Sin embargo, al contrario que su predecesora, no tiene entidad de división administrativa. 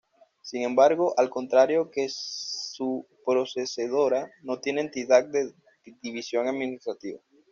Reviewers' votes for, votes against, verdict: 2, 1, accepted